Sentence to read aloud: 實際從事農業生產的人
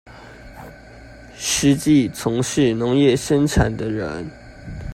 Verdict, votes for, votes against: rejected, 0, 2